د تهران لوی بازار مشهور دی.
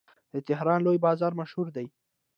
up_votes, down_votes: 2, 0